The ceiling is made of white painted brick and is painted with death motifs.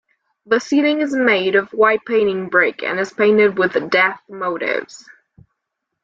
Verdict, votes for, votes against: rejected, 0, 2